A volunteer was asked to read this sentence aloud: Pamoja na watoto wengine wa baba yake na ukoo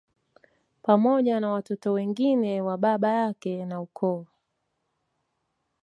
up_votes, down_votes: 2, 0